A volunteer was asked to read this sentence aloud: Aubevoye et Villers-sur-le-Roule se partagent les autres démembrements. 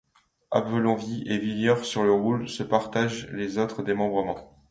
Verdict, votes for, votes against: rejected, 1, 2